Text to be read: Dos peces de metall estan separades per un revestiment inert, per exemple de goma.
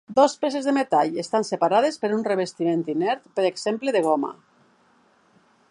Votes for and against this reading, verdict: 3, 0, accepted